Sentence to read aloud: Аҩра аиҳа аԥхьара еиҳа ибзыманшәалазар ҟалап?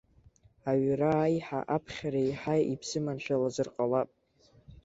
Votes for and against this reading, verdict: 2, 0, accepted